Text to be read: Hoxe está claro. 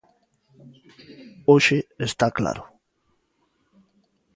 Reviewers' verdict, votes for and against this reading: accepted, 2, 0